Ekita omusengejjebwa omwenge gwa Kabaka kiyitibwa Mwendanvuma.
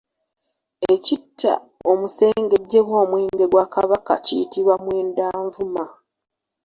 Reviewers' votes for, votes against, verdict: 1, 2, rejected